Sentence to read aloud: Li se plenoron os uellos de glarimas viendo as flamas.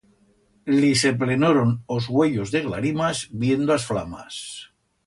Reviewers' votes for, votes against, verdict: 2, 0, accepted